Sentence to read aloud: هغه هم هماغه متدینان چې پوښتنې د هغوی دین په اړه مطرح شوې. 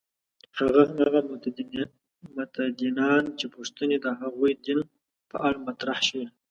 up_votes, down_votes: 0, 2